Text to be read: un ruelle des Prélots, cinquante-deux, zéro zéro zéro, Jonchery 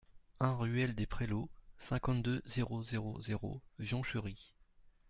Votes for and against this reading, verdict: 2, 0, accepted